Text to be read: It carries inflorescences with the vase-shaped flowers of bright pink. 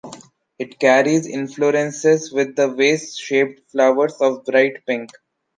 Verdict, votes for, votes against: rejected, 0, 2